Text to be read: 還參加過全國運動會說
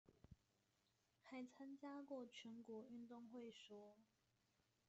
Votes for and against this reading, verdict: 0, 2, rejected